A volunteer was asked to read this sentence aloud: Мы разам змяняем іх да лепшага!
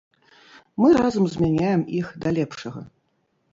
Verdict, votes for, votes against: rejected, 1, 2